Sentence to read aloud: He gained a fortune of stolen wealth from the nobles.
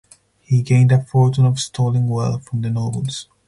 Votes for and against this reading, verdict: 4, 0, accepted